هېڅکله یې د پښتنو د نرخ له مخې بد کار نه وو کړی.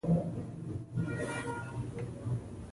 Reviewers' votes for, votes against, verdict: 0, 2, rejected